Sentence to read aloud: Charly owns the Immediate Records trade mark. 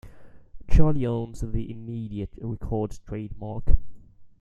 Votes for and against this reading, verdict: 1, 2, rejected